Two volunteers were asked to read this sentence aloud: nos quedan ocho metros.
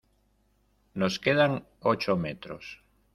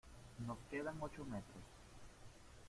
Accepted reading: first